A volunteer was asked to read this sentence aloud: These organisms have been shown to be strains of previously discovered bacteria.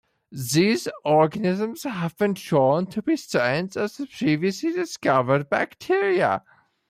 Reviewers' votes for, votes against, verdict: 1, 2, rejected